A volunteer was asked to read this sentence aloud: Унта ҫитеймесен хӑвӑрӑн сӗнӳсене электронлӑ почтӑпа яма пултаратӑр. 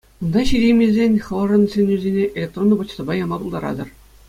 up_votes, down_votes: 2, 0